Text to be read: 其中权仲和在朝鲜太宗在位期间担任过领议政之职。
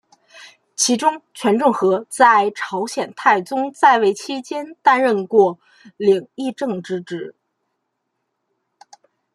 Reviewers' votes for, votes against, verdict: 2, 0, accepted